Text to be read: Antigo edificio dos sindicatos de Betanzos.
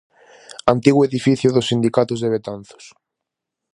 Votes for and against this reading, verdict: 2, 2, rejected